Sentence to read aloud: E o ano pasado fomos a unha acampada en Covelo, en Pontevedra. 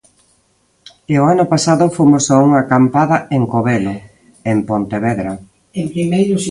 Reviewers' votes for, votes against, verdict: 0, 2, rejected